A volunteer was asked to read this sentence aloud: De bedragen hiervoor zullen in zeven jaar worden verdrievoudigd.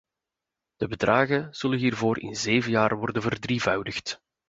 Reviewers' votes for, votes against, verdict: 1, 2, rejected